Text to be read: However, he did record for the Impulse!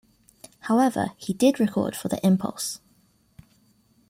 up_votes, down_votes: 2, 0